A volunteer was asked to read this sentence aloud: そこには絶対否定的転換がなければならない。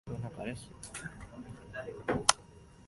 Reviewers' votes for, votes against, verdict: 1, 2, rejected